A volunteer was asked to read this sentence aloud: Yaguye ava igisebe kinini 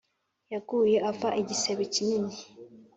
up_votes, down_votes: 2, 0